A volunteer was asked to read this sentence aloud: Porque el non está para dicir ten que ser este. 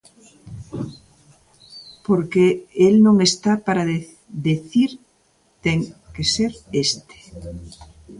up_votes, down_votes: 0, 2